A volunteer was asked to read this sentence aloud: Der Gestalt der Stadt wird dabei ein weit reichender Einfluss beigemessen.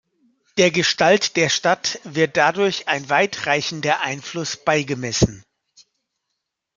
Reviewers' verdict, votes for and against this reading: rejected, 0, 2